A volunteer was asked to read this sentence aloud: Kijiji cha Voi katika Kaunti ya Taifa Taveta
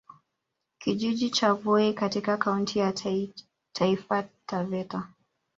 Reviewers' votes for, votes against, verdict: 0, 2, rejected